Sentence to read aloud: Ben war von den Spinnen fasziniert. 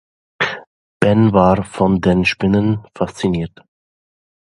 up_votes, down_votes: 2, 0